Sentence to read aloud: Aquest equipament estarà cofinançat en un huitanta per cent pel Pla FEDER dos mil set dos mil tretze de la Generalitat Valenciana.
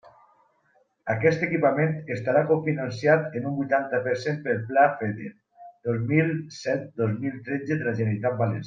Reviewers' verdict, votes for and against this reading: rejected, 0, 2